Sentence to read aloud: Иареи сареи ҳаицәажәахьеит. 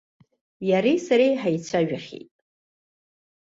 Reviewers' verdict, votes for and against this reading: accepted, 2, 0